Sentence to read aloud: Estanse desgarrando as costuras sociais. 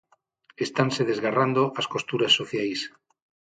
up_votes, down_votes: 6, 0